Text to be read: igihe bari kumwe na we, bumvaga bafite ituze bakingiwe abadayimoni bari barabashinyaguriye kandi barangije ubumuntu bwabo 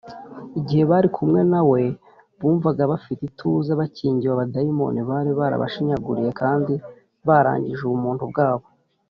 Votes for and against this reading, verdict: 2, 0, accepted